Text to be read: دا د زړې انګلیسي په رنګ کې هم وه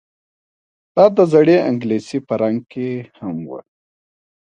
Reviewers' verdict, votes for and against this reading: accepted, 2, 0